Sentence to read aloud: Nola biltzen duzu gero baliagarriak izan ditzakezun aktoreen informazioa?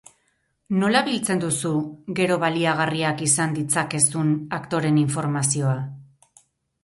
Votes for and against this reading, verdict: 2, 2, rejected